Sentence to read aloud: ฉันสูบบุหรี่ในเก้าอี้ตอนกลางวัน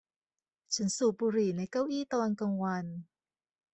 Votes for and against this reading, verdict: 2, 0, accepted